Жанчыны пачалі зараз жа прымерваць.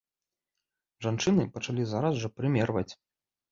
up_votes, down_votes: 2, 0